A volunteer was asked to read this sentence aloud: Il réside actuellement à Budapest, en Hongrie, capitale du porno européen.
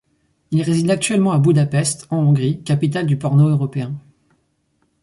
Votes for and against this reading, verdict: 4, 2, accepted